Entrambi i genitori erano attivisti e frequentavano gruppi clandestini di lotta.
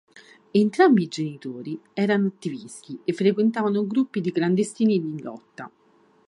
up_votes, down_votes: 1, 3